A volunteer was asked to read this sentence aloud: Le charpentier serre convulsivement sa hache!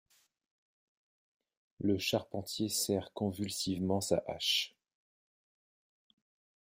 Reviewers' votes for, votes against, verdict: 0, 2, rejected